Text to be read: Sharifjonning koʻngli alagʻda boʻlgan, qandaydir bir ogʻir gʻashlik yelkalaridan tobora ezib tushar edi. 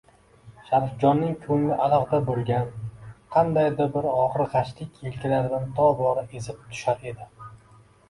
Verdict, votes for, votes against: rejected, 1, 2